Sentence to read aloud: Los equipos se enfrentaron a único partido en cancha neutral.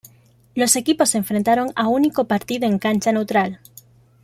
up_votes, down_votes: 2, 0